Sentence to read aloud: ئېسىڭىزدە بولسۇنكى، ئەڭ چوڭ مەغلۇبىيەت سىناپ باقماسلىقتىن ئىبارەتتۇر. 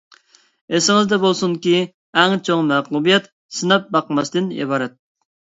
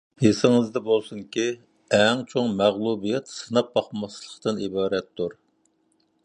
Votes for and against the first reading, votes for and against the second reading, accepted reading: 0, 2, 2, 0, second